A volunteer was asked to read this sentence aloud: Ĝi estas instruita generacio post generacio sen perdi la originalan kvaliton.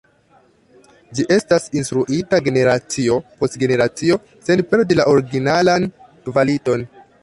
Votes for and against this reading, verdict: 2, 1, accepted